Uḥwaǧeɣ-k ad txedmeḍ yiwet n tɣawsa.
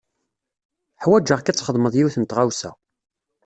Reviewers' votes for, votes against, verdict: 2, 0, accepted